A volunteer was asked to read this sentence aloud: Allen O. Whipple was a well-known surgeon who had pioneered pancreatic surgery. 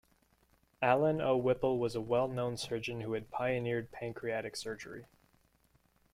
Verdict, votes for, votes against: accepted, 2, 0